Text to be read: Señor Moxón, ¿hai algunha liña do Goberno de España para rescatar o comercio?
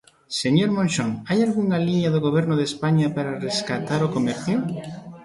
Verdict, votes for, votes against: rejected, 1, 2